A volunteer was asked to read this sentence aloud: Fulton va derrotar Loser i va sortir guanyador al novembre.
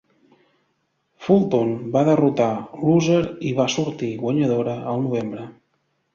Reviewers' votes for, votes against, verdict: 0, 2, rejected